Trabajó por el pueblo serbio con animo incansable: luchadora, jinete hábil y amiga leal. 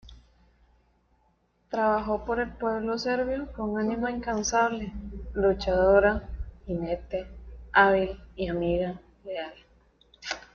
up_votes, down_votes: 0, 2